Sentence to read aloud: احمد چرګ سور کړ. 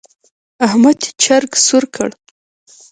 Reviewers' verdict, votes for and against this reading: accepted, 2, 1